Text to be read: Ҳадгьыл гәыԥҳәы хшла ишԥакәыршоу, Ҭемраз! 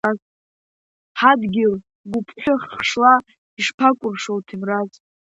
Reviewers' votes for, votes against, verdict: 0, 2, rejected